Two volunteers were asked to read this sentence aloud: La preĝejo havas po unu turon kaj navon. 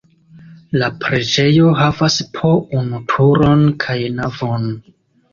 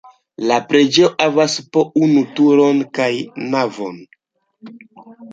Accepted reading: first